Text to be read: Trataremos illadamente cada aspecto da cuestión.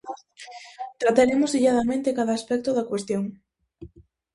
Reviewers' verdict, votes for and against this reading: rejected, 0, 2